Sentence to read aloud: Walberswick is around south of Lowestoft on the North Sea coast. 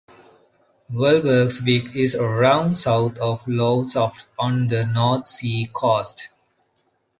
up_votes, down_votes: 0, 3